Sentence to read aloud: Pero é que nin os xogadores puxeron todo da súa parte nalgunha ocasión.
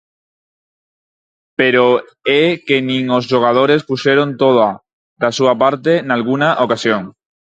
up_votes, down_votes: 0, 4